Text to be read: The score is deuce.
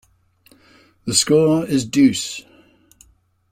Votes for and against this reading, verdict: 2, 0, accepted